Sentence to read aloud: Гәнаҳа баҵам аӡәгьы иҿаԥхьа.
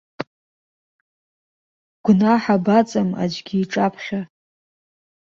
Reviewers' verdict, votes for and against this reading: accepted, 2, 0